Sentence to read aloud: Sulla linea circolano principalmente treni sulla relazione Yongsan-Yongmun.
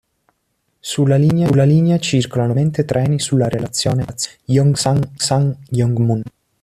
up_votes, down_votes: 0, 3